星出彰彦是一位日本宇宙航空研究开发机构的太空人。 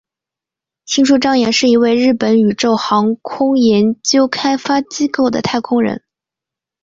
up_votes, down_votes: 2, 0